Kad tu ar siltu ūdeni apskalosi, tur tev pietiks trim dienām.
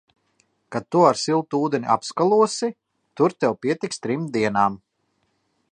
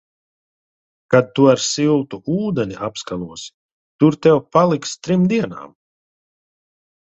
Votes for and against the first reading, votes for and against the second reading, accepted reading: 2, 0, 0, 2, first